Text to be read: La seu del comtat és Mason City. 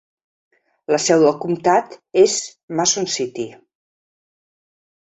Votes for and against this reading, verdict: 2, 0, accepted